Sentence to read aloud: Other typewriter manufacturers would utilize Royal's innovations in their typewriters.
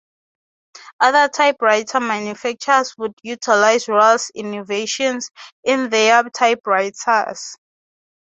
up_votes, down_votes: 3, 0